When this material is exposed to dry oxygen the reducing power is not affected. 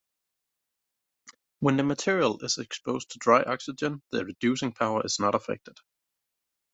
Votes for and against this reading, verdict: 2, 0, accepted